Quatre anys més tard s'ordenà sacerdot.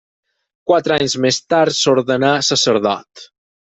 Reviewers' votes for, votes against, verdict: 6, 0, accepted